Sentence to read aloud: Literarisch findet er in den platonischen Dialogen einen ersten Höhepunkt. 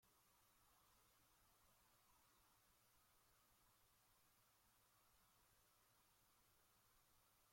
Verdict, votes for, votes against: rejected, 0, 2